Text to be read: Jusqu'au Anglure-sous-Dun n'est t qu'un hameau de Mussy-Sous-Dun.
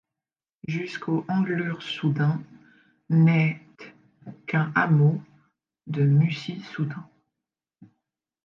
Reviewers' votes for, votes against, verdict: 2, 0, accepted